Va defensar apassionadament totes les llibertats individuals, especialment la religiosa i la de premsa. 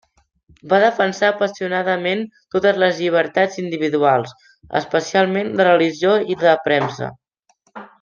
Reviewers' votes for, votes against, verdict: 0, 2, rejected